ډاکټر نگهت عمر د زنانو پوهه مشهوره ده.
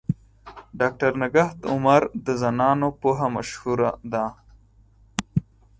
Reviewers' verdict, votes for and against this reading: accepted, 4, 2